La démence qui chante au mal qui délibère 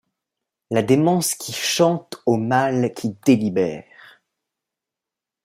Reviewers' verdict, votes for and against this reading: accepted, 2, 0